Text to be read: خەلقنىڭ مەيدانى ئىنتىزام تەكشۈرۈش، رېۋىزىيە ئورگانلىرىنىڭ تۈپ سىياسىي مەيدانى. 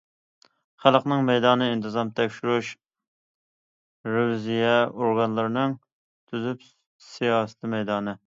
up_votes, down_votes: 0, 2